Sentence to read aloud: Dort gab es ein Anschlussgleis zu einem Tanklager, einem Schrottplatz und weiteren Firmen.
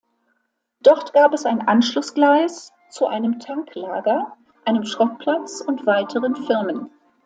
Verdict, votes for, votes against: accepted, 2, 0